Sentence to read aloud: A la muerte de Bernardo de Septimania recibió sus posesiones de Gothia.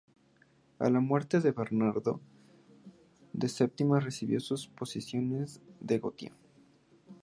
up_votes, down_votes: 0, 2